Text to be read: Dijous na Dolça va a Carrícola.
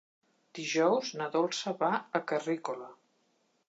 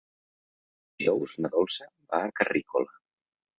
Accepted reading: first